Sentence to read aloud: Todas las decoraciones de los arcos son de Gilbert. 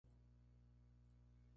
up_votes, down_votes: 0, 2